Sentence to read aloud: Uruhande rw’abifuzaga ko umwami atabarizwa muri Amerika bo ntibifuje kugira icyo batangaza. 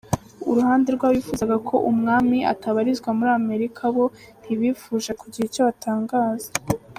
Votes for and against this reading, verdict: 3, 0, accepted